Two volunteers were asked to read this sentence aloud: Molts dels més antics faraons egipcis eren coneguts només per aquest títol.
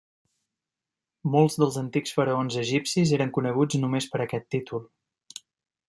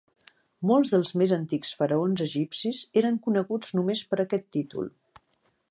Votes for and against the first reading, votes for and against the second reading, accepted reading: 0, 2, 2, 0, second